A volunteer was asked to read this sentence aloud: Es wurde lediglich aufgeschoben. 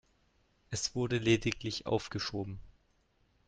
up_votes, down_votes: 2, 0